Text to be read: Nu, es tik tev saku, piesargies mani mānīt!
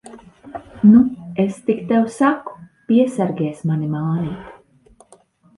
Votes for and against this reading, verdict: 3, 0, accepted